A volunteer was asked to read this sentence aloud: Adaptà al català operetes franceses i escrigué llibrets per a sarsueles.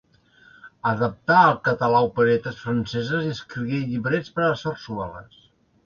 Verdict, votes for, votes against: rejected, 0, 2